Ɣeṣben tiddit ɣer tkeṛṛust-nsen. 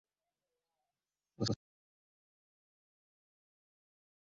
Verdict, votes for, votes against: rejected, 0, 2